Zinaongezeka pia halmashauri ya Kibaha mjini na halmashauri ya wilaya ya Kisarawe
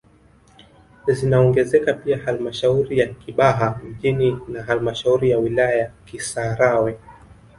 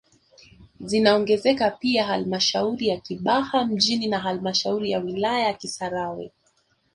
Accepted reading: second